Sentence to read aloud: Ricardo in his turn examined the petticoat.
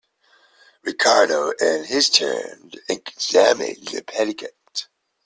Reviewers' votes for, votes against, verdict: 1, 2, rejected